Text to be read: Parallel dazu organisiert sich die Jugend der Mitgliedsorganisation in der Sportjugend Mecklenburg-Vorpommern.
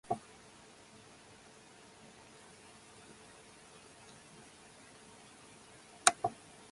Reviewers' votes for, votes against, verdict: 0, 4, rejected